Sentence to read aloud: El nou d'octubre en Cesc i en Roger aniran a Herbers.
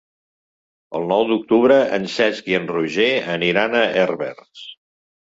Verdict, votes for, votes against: accepted, 3, 0